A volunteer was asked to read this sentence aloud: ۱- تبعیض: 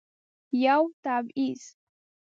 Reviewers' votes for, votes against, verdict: 0, 2, rejected